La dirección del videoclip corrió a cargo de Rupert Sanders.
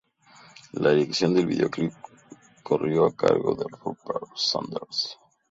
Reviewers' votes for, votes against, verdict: 2, 0, accepted